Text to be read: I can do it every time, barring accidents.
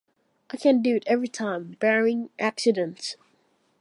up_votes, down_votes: 2, 1